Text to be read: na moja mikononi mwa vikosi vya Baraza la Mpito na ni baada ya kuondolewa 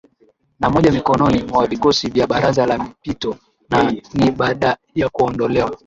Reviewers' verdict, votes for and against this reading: accepted, 19, 2